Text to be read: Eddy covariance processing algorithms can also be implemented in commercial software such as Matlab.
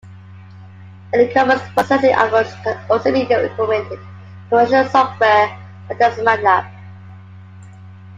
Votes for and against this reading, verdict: 0, 2, rejected